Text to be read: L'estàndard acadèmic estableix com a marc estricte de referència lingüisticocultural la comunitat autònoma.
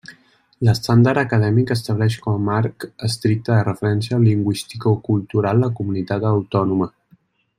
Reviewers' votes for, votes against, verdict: 2, 1, accepted